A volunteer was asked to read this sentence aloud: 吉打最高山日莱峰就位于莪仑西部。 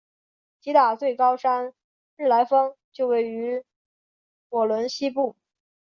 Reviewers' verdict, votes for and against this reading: accepted, 3, 0